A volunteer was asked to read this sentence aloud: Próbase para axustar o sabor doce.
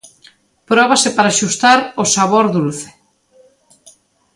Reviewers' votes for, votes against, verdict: 0, 2, rejected